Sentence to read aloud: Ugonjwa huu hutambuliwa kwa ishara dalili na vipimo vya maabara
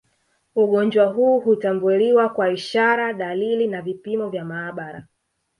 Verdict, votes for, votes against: rejected, 0, 2